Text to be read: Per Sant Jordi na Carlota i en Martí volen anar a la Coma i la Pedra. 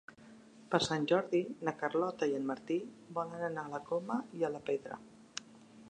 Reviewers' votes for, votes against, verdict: 0, 2, rejected